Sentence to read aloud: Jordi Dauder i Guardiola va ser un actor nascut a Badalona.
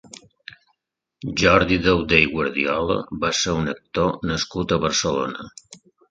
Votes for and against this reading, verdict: 1, 2, rejected